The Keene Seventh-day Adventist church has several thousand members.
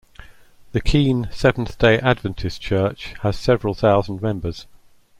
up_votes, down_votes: 2, 0